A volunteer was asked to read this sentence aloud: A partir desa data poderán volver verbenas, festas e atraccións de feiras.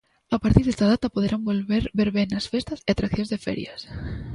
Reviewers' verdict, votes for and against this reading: rejected, 0, 2